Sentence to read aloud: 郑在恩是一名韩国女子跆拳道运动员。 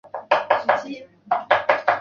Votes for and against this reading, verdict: 0, 2, rejected